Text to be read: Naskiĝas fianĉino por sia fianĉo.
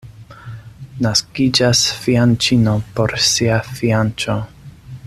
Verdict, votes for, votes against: accepted, 2, 0